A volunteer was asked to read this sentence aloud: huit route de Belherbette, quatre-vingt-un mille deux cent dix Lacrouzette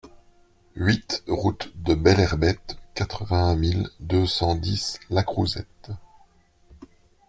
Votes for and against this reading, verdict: 2, 0, accepted